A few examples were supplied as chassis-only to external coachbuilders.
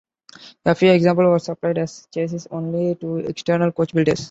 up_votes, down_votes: 1, 2